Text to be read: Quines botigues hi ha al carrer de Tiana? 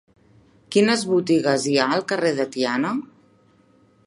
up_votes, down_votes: 3, 0